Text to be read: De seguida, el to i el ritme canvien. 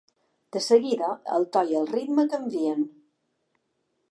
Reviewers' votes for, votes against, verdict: 3, 0, accepted